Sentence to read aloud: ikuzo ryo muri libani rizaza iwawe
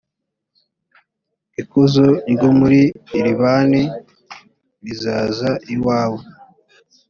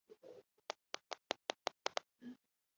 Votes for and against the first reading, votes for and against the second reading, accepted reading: 5, 0, 0, 2, first